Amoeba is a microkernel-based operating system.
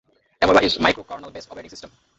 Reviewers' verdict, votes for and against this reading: rejected, 0, 2